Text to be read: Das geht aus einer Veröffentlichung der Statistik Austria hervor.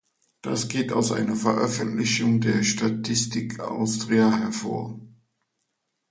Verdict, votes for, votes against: accepted, 2, 0